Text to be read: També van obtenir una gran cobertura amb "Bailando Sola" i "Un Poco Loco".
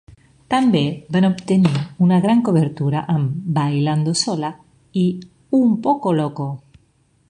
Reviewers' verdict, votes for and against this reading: accepted, 2, 0